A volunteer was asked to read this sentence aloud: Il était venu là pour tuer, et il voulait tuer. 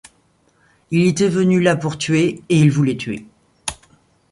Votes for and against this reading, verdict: 2, 0, accepted